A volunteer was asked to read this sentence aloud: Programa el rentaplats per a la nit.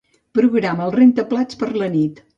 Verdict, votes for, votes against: accepted, 3, 0